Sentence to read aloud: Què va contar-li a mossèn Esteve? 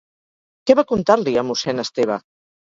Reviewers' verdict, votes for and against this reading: accepted, 4, 2